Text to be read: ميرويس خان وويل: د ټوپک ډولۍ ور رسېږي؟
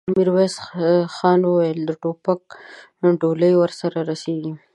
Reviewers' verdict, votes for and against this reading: rejected, 1, 3